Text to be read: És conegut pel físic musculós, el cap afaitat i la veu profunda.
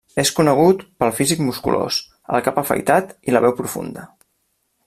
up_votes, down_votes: 2, 0